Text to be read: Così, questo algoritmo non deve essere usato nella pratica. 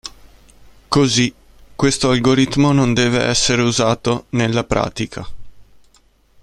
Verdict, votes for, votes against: accepted, 2, 0